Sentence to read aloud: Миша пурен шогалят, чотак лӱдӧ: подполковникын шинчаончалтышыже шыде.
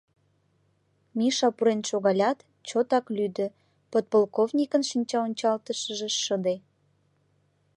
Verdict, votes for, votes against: accepted, 2, 0